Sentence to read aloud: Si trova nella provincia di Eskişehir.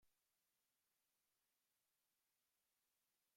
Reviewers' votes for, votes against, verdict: 0, 2, rejected